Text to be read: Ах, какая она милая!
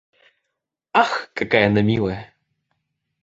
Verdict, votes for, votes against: accepted, 2, 0